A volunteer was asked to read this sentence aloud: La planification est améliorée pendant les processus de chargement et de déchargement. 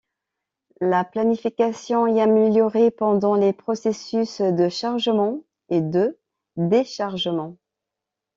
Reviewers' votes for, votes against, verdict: 2, 0, accepted